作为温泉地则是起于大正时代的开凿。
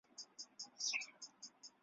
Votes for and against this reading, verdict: 0, 3, rejected